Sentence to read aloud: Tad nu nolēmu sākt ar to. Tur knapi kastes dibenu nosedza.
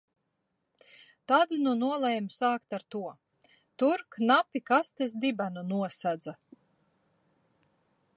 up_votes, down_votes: 0, 2